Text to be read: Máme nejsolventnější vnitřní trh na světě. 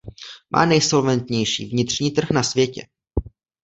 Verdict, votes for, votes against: rejected, 0, 2